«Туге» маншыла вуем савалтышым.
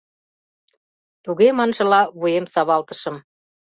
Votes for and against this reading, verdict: 2, 0, accepted